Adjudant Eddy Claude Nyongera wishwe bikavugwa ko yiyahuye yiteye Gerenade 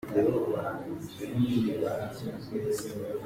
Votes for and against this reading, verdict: 0, 2, rejected